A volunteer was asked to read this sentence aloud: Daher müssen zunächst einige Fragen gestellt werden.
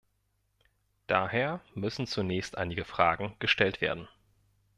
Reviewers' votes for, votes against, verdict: 2, 0, accepted